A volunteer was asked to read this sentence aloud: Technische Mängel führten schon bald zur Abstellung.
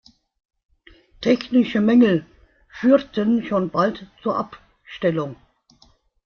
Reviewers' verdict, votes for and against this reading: rejected, 0, 2